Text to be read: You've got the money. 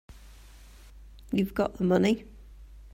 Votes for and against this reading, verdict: 2, 0, accepted